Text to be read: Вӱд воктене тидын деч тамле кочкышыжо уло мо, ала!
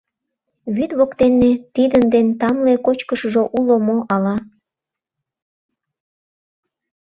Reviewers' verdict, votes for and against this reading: rejected, 0, 2